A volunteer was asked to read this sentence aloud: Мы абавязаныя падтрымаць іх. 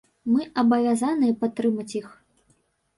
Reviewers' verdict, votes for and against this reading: rejected, 0, 2